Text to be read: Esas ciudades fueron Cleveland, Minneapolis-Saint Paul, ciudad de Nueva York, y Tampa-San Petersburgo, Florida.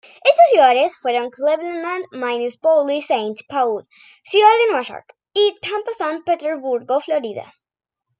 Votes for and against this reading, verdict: 0, 2, rejected